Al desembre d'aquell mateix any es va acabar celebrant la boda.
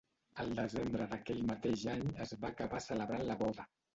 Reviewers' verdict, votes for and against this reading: rejected, 1, 2